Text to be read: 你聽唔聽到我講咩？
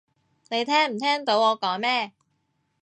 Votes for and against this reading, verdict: 2, 0, accepted